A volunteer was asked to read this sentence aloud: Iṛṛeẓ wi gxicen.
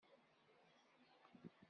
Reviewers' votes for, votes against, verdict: 0, 2, rejected